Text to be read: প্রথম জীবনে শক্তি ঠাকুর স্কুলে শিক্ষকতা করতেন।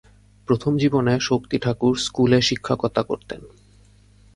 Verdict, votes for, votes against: accepted, 2, 0